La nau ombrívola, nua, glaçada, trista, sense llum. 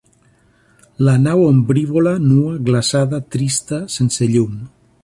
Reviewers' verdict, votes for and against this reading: accepted, 2, 0